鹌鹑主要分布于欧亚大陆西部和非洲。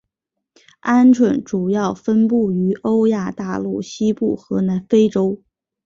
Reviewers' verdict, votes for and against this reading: accepted, 3, 0